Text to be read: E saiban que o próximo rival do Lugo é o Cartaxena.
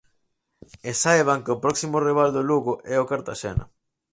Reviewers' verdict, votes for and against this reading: accepted, 4, 0